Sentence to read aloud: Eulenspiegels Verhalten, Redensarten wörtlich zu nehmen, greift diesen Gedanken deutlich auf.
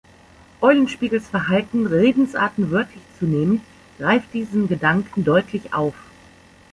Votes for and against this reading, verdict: 2, 0, accepted